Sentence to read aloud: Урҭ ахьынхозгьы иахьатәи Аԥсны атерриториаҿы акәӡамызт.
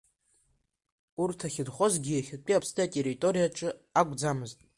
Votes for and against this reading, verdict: 2, 0, accepted